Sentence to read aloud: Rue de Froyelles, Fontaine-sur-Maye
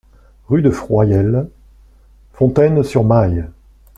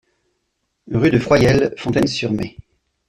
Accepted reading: second